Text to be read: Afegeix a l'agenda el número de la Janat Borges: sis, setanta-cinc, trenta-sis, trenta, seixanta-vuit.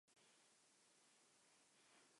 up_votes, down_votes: 0, 3